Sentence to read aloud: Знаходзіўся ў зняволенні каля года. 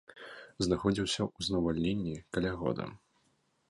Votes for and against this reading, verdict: 0, 2, rejected